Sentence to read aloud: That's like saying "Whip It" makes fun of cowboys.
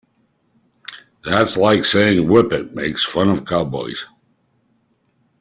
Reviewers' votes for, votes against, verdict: 2, 0, accepted